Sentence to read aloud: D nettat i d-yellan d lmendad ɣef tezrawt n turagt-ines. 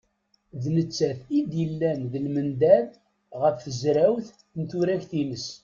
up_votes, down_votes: 2, 0